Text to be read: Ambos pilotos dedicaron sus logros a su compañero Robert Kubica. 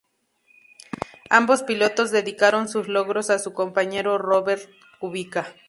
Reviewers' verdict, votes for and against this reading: accepted, 2, 0